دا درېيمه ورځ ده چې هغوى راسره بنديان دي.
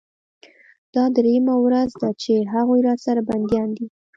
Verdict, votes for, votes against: rejected, 1, 2